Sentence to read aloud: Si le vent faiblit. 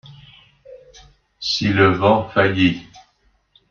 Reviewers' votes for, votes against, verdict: 0, 2, rejected